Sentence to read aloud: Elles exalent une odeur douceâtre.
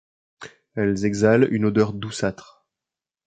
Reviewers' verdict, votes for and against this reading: accepted, 2, 0